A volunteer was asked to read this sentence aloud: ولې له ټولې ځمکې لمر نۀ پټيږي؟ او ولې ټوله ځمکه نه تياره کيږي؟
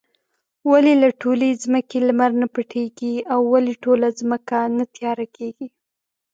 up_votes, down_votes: 2, 0